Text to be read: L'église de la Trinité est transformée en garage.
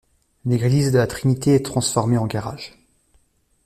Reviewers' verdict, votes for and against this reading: accepted, 2, 0